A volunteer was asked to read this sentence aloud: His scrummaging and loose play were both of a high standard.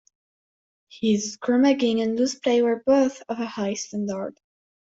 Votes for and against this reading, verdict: 1, 2, rejected